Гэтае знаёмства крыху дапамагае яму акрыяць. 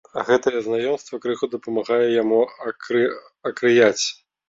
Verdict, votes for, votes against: rejected, 1, 3